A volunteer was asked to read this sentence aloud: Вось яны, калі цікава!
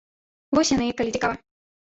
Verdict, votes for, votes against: rejected, 1, 2